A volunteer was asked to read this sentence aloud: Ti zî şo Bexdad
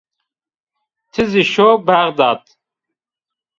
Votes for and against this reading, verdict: 1, 2, rejected